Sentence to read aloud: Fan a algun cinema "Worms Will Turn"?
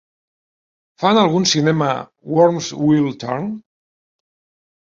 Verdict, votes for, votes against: rejected, 0, 2